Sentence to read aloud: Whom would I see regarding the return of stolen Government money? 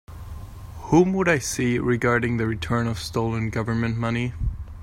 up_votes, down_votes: 2, 0